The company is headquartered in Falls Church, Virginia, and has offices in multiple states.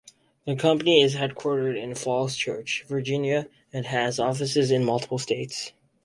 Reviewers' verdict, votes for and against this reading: accepted, 4, 0